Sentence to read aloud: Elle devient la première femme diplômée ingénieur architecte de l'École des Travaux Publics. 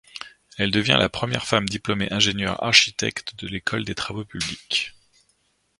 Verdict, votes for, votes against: accepted, 2, 0